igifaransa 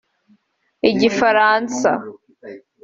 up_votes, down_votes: 2, 0